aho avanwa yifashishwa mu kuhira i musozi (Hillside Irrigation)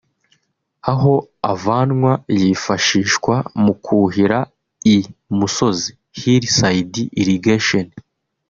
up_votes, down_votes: 2, 0